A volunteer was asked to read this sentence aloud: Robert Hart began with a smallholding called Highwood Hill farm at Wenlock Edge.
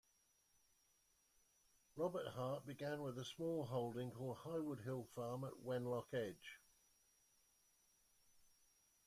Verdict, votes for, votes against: rejected, 0, 2